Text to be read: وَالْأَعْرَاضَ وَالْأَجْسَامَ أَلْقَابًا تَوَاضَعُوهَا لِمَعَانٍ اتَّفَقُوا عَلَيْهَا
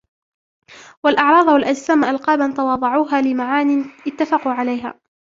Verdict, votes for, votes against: accepted, 2, 0